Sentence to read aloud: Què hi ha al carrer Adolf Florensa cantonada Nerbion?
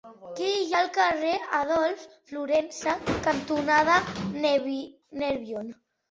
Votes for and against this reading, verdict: 0, 2, rejected